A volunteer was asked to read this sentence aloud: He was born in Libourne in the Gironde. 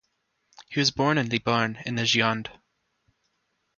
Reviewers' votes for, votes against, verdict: 2, 0, accepted